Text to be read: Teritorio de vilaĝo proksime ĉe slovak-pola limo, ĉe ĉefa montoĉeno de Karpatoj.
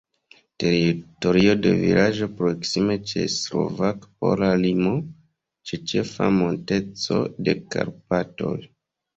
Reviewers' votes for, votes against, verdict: 0, 2, rejected